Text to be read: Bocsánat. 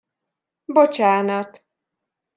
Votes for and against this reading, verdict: 2, 0, accepted